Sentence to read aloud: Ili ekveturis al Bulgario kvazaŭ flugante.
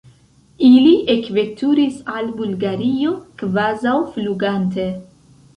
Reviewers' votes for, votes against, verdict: 2, 0, accepted